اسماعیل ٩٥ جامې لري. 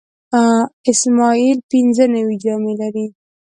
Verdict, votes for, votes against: rejected, 0, 2